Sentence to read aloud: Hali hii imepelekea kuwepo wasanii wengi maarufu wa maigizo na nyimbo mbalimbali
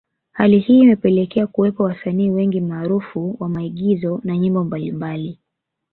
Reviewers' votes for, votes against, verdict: 2, 0, accepted